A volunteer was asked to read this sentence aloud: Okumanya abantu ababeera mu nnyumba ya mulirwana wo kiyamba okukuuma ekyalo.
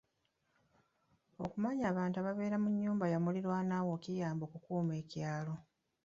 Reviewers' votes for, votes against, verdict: 1, 2, rejected